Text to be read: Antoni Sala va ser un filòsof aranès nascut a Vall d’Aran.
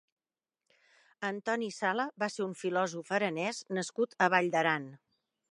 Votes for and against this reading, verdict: 2, 0, accepted